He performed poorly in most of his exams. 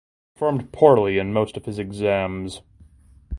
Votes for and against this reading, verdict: 0, 2, rejected